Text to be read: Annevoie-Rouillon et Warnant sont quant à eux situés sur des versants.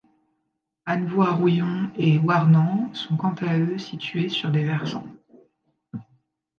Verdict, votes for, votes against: accepted, 3, 0